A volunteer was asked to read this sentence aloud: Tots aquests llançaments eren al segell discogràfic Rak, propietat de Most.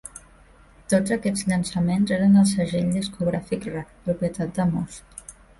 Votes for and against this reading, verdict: 2, 0, accepted